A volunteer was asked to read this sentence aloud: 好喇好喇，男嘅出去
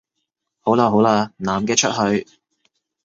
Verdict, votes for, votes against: accepted, 2, 0